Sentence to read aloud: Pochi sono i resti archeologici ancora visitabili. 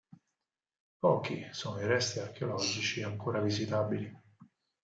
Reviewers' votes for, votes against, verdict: 4, 0, accepted